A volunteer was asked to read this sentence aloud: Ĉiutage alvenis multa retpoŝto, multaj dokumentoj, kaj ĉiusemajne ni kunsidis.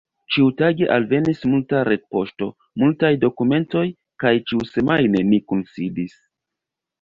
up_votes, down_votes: 0, 2